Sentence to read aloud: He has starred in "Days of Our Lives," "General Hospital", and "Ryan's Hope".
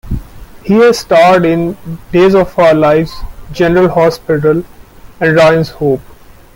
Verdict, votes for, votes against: accepted, 2, 1